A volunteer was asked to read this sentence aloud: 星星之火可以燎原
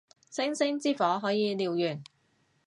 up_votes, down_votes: 2, 0